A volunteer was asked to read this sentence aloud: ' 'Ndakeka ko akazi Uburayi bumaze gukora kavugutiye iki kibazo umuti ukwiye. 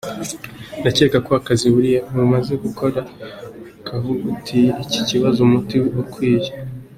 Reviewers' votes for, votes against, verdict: 2, 0, accepted